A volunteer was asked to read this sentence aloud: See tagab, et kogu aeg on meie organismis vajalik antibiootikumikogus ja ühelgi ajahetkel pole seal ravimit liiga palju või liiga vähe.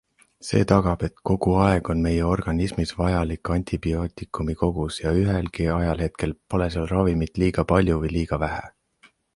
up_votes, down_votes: 2, 0